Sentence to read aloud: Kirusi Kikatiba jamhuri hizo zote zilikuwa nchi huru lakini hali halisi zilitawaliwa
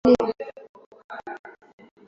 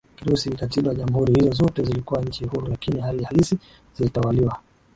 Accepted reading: second